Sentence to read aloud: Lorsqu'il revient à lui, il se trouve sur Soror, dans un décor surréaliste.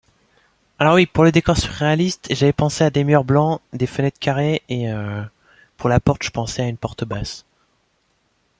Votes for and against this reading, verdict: 0, 2, rejected